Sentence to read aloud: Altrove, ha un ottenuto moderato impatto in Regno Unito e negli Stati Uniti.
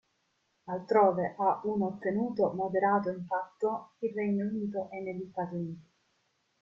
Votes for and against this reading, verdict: 1, 2, rejected